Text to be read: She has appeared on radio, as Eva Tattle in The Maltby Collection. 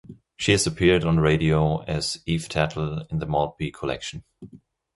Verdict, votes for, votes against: rejected, 0, 2